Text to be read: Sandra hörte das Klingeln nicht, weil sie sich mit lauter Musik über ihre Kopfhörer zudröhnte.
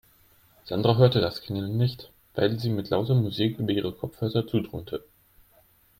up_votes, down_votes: 1, 3